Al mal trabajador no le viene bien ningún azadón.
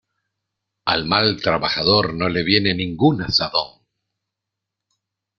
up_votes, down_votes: 0, 2